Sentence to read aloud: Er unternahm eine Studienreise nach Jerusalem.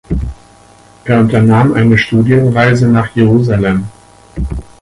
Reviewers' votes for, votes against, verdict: 2, 4, rejected